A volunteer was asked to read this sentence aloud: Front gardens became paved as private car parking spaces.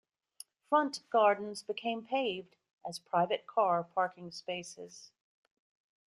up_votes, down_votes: 2, 0